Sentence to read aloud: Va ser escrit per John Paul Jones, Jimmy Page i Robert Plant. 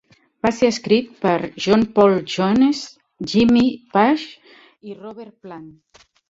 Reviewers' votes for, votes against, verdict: 2, 3, rejected